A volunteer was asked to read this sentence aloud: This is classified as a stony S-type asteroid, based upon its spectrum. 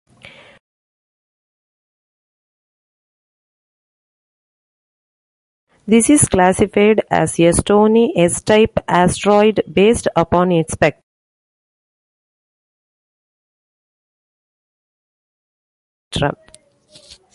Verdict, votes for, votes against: rejected, 0, 2